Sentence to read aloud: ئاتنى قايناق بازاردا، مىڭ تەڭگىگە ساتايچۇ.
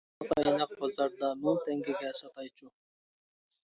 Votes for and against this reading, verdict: 0, 2, rejected